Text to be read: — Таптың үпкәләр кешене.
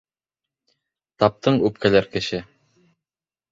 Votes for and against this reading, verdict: 0, 2, rejected